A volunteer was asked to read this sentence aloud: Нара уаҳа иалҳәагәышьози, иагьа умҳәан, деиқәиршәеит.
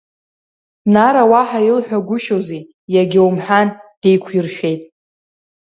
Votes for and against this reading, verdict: 1, 2, rejected